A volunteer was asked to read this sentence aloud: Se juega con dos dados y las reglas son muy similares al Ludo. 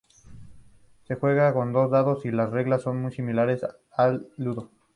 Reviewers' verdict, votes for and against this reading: accepted, 2, 0